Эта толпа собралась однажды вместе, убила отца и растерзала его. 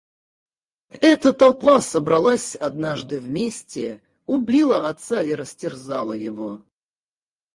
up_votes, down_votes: 4, 2